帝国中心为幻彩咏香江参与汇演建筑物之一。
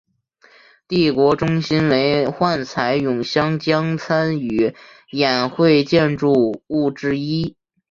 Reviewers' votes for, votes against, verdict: 0, 2, rejected